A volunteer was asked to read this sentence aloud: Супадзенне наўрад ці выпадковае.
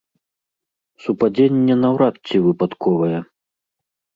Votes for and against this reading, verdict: 2, 0, accepted